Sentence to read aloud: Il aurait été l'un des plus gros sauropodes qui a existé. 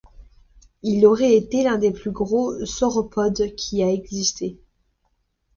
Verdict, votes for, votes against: accepted, 2, 0